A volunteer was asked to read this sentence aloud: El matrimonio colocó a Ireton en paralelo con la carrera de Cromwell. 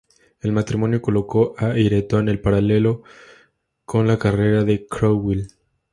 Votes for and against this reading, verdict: 2, 0, accepted